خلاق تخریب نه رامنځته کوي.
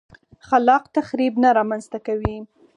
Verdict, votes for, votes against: accepted, 4, 2